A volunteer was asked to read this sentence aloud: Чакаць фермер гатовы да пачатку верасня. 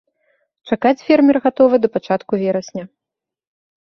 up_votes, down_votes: 0, 2